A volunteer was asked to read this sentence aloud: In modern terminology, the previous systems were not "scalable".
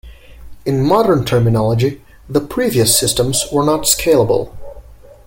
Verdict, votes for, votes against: accepted, 2, 0